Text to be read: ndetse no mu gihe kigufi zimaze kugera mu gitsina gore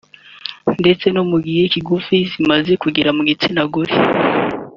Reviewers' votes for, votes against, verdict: 2, 0, accepted